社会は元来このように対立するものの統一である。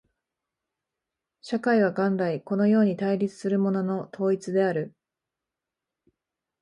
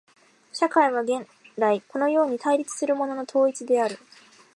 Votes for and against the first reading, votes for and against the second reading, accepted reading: 2, 0, 0, 2, first